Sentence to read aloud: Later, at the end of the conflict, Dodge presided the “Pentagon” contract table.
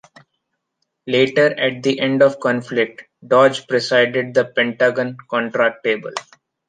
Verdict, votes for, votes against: rejected, 0, 2